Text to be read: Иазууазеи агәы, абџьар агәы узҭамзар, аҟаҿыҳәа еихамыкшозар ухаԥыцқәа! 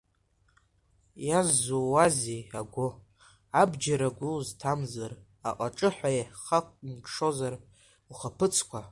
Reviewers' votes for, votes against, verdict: 1, 2, rejected